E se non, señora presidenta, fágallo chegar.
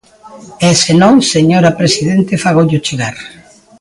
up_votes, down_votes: 1, 2